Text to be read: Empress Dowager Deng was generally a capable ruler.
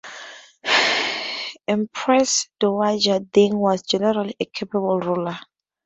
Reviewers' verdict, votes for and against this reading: accepted, 4, 0